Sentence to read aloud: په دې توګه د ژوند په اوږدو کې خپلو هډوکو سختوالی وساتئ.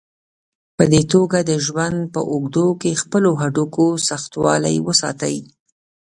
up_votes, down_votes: 2, 0